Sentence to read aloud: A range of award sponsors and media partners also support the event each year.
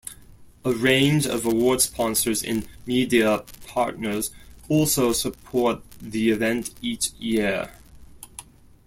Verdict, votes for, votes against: accepted, 2, 1